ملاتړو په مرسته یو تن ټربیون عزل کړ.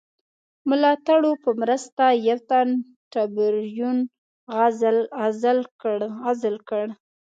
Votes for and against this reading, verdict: 1, 2, rejected